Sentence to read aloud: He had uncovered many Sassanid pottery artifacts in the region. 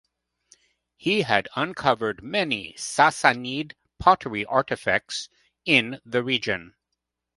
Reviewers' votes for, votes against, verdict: 2, 0, accepted